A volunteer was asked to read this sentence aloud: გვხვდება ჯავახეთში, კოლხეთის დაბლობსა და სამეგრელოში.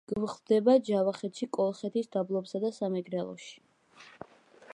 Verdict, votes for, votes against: accepted, 2, 0